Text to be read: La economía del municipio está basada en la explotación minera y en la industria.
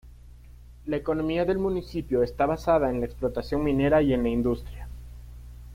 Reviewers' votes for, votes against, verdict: 2, 0, accepted